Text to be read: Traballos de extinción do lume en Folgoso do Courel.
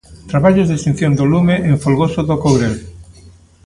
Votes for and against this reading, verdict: 2, 0, accepted